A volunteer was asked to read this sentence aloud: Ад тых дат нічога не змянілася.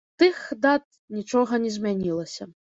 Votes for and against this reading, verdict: 0, 2, rejected